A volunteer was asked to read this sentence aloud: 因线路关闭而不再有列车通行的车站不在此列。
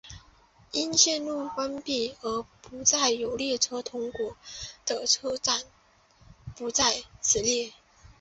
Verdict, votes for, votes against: rejected, 1, 2